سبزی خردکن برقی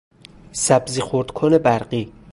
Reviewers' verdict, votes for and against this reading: rejected, 0, 2